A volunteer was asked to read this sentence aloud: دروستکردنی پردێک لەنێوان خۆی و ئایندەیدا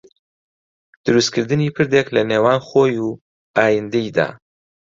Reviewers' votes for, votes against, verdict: 2, 0, accepted